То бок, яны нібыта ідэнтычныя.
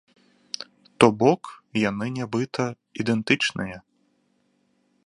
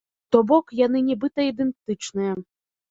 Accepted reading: first